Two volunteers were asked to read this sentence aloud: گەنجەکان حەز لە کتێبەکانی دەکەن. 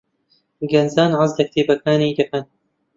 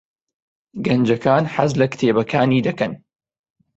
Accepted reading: second